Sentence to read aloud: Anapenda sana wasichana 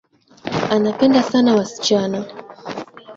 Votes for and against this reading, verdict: 22, 2, accepted